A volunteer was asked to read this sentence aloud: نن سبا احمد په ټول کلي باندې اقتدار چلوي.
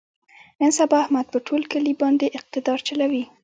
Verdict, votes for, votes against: rejected, 1, 2